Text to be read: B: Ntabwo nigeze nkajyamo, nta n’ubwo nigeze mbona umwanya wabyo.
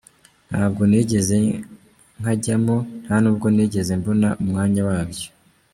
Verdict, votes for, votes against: rejected, 1, 2